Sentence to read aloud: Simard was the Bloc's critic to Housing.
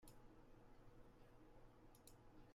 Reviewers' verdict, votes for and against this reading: rejected, 0, 2